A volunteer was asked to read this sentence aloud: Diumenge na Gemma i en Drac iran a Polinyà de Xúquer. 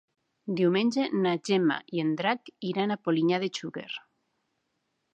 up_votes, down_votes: 3, 0